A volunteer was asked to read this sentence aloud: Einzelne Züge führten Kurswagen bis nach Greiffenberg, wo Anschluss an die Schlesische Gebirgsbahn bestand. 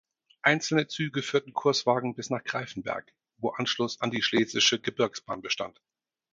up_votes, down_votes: 4, 0